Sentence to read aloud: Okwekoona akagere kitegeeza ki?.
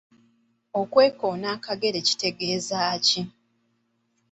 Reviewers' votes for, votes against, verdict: 3, 0, accepted